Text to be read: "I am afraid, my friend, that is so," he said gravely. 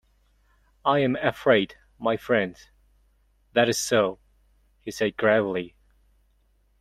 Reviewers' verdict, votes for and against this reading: accepted, 2, 0